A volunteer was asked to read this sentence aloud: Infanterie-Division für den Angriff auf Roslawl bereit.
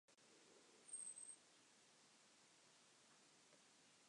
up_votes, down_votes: 0, 3